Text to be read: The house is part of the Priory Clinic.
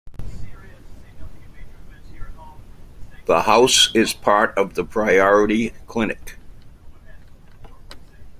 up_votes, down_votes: 1, 3